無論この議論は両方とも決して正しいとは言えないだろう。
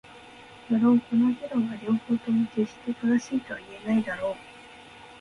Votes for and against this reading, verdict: 2, 0, accepted